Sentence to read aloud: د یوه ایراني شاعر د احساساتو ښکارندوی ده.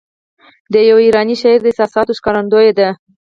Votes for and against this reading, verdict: 4, 0, accepted